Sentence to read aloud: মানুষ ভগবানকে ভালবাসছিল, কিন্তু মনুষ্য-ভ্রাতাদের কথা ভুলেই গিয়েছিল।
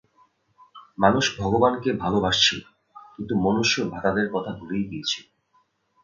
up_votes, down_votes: 2, 0